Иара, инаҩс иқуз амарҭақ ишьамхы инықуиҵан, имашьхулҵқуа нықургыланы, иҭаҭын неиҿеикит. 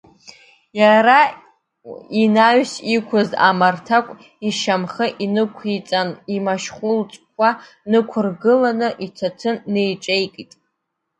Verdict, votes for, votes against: rejected, 0, 2